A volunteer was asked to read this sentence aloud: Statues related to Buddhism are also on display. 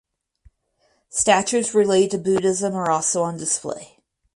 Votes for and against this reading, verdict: 2, 2, rejected